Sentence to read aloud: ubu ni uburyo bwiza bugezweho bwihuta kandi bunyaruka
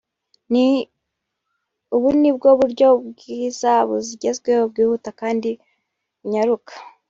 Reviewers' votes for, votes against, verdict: 1, 2, rejected